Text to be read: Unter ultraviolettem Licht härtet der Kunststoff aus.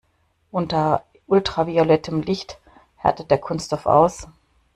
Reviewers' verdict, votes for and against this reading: rejected, 1, 2